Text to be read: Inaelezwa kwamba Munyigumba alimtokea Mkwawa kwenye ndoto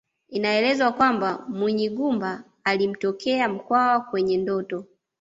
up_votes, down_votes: 2, 0